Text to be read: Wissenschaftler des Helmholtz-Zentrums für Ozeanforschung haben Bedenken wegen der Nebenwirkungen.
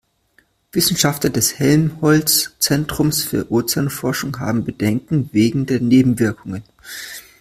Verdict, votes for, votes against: accepted, 2, 0